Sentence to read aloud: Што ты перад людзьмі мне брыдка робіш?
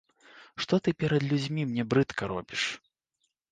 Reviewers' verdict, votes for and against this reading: accepted, 2, 0